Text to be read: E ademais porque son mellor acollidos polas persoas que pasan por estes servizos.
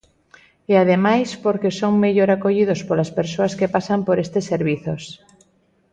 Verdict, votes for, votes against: accepted, 2, 0